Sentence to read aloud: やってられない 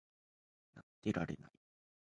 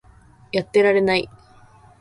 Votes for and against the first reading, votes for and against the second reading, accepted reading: 1, 2, 2, 0, second